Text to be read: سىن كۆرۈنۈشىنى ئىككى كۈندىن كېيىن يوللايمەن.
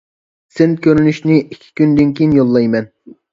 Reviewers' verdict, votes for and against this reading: accepted, 2, 0